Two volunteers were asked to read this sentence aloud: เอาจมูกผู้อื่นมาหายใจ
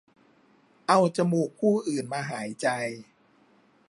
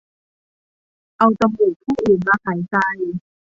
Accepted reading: first